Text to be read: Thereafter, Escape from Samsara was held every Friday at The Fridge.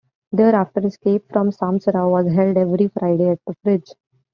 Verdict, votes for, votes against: accepted, 2, 1